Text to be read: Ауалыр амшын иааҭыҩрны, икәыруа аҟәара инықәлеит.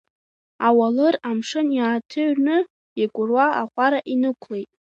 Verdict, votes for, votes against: accepted, 4, 1